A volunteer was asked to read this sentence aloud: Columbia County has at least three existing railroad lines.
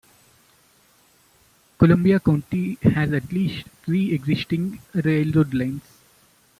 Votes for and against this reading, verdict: 2, 0, accepted